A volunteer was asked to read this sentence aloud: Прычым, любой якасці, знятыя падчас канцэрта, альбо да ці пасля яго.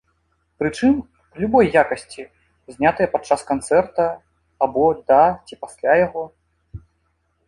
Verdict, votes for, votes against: rejected, 1, 2